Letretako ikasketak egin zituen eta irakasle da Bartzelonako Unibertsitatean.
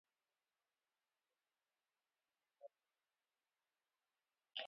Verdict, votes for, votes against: rejected, 0, 3